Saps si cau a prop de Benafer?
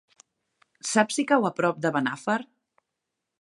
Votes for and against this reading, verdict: 2, 1, accepted